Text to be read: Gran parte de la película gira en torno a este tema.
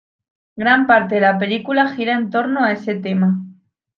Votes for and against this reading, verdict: 0, 2, rejected